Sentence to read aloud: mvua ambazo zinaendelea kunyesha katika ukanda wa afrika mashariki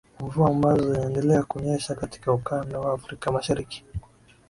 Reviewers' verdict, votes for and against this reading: accepted, 2, 0